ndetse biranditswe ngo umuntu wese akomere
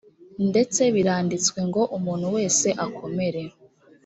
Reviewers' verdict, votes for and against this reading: accepted, 3, 0